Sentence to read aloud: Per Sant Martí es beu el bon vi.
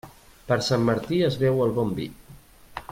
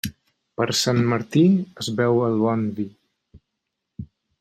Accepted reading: first